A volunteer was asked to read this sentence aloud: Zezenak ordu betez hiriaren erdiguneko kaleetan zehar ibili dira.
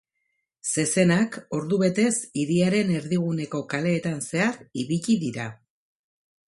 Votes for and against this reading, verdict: 4, 0, accepted